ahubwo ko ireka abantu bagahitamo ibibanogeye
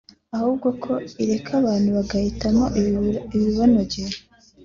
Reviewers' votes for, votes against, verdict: 3, 0, accepted